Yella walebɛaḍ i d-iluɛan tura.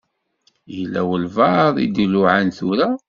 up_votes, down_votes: 0, 2